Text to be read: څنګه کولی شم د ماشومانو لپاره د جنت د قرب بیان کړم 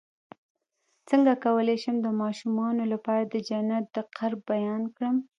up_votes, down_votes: 1, 2